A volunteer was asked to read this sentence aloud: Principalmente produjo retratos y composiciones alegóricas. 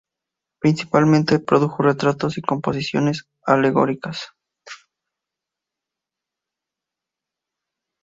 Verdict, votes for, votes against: accepted, 2, 0